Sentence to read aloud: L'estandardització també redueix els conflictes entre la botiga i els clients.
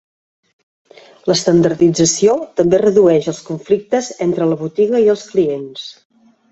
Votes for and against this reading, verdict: 2, 0, accepted